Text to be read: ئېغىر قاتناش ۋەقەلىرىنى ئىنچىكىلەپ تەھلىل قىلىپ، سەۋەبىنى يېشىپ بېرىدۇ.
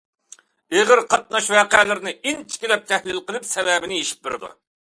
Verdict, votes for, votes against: accepted, 2, 0